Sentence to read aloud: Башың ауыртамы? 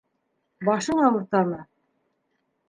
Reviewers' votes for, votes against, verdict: 2, 0, accepted